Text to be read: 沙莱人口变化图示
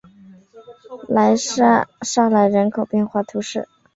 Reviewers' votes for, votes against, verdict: 0, 3, rejected